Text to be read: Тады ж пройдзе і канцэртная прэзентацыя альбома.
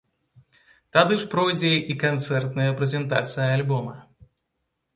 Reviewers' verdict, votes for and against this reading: accepted, 2, 0